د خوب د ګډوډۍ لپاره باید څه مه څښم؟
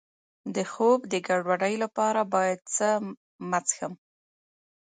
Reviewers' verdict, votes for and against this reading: accepted, 3, 1